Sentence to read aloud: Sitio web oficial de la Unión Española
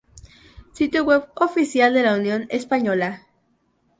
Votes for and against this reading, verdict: 2, 0, accepted